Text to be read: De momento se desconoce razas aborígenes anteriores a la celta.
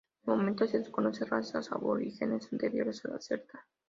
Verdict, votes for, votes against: accepted, 2, 0